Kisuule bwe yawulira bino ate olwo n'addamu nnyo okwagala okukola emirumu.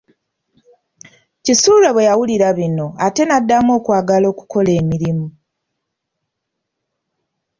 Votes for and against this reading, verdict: 0, 2, rejected